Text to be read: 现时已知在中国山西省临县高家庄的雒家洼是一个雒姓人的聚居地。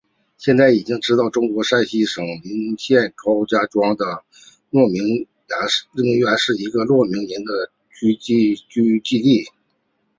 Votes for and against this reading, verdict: 0, 2, rejected